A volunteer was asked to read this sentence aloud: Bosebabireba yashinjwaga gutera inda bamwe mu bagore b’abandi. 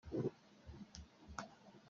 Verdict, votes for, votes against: rejected, 0, 2